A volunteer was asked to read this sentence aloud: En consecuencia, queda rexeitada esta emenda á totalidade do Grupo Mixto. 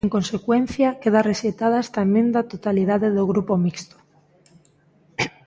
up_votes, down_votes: 2, 1